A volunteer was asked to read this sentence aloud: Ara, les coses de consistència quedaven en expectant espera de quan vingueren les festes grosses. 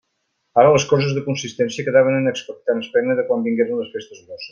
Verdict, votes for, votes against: rejected, 0, 2